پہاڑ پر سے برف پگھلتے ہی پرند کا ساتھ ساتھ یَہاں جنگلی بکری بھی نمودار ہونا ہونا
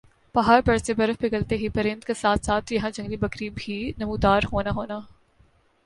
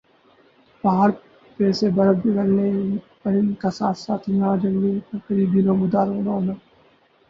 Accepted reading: first